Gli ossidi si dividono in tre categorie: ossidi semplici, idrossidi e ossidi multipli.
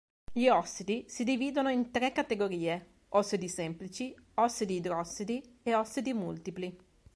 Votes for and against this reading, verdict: 0, 2, rejected